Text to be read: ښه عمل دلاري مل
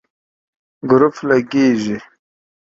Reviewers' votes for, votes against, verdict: 1, 3, rejected